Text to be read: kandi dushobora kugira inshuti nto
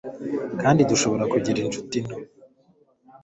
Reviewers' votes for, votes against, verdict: 3, 0, accepted